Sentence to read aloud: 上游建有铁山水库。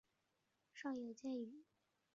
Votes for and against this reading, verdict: 0, 3, rejected